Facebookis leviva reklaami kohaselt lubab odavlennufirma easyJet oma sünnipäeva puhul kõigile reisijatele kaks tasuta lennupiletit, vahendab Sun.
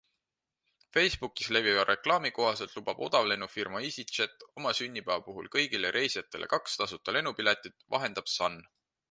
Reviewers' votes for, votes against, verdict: 2, 0, accepted